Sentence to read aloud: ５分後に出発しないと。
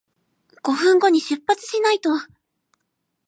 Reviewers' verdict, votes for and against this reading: rejected, 0, 2